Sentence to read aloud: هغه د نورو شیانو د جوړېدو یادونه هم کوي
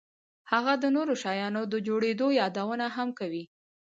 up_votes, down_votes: 0, 2